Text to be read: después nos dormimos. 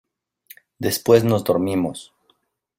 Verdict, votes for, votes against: accepted, 2, 1